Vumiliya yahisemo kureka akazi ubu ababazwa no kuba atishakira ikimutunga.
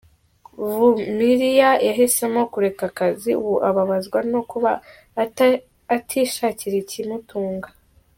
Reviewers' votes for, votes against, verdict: 0, 3, rejected